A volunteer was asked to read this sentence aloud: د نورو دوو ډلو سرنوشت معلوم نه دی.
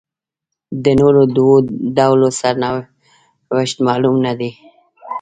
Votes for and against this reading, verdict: 0, 2, rejected